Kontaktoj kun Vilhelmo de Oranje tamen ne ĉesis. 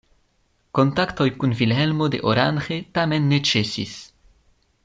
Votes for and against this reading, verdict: 1, 2, rejected